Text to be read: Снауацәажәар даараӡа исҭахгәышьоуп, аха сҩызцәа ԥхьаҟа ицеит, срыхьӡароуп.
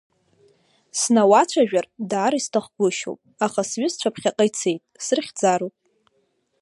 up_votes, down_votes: 2, 0